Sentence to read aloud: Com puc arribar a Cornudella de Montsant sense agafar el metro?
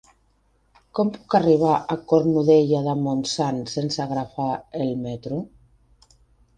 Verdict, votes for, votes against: rejected, 0, 2